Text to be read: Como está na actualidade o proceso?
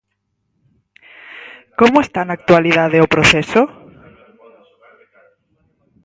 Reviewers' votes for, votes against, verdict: 4, 2, accepted